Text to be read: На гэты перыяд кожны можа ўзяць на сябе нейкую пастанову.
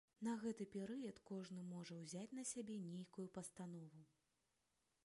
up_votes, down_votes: 1, 2